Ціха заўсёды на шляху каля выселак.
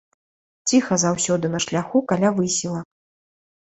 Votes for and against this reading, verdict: 0, 2, rejected